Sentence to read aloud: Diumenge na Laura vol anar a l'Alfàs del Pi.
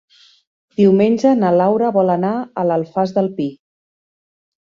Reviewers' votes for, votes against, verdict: 3, 0, accepted